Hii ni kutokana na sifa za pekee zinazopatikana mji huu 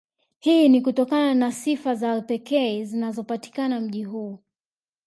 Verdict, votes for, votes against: accepted, 2, 0